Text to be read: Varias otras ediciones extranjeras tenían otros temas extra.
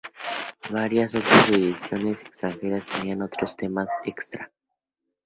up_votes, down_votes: 2, 0